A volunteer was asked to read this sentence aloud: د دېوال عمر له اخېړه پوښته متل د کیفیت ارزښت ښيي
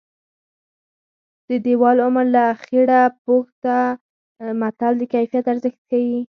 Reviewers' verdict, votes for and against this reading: rejected, 0, 4